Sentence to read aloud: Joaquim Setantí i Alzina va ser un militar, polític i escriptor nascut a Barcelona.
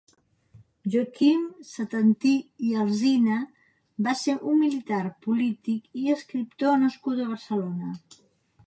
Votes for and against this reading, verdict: 2, 0, accepted